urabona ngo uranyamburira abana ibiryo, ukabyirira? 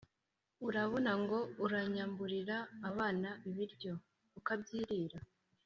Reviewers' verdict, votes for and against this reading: accepted, 2, 1